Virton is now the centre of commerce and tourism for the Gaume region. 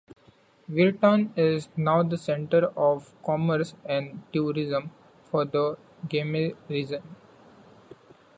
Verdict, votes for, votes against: rejected, 1, 2